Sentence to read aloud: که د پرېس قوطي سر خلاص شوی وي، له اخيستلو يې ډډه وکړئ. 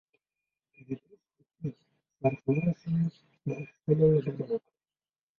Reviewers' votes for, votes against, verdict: 0, 2, rejected